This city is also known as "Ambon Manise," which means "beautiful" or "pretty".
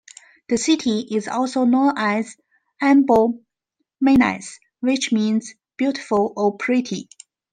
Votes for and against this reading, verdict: 2, 1, accepted